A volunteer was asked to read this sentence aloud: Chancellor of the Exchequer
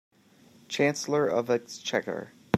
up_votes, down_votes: 0, 2